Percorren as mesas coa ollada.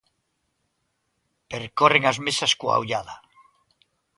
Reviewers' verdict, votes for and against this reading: accepted, 2, 0